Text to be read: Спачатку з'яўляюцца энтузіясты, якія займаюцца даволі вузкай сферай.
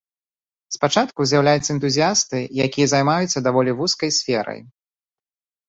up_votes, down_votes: 2, 0